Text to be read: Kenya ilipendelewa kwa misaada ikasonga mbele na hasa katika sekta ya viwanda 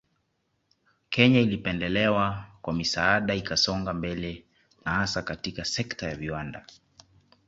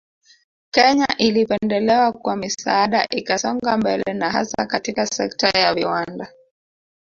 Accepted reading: first